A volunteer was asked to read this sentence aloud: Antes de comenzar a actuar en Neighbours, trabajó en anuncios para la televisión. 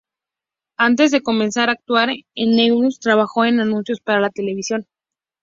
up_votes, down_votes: 2, 0